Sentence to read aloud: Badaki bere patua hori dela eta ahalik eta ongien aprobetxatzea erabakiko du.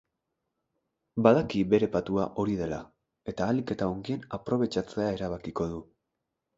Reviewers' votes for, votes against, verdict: 2, 0, accepted